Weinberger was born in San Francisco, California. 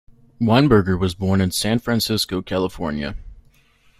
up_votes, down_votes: 0, 2